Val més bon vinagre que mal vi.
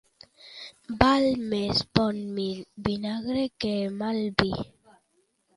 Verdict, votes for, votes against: rejected, 1, 2